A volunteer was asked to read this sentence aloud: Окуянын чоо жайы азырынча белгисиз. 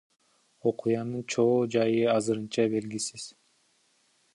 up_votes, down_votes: 2, 1